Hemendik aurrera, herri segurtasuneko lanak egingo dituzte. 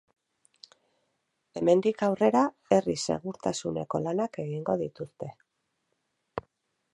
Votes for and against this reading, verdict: 2, 2, rejected